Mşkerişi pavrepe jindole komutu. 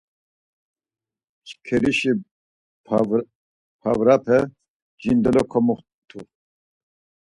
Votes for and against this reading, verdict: 2, 4, rejected